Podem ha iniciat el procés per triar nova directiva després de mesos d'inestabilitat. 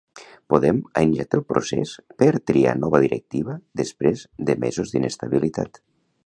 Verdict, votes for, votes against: rejected, 0, 2